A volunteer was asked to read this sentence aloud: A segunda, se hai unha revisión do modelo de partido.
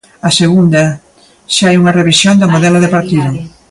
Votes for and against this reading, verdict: 2, 1, accepted